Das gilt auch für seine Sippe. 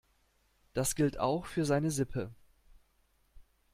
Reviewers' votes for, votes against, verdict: 2, 0, accepted